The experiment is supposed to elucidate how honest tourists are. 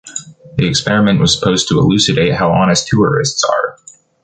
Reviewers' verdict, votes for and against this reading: rejected, 0, 2